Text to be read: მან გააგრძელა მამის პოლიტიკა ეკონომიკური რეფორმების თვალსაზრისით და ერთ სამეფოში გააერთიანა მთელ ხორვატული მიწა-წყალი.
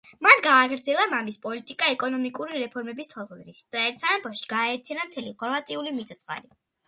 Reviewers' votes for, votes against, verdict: 2, 0, accepted